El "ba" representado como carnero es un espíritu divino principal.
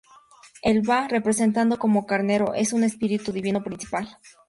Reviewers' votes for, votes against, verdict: 2, 2, rejected